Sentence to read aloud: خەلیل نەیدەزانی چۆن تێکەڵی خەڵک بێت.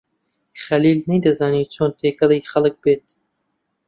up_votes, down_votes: 3, 0